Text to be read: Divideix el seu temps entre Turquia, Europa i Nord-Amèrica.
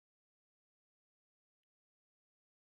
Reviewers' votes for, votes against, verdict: 0, 2, rejected